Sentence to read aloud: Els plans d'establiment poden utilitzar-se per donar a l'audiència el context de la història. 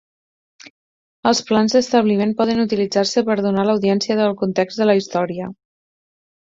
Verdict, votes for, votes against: accepted, 4, 2